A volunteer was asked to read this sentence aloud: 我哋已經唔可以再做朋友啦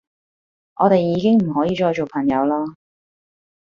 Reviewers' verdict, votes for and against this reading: rejected, 1, 2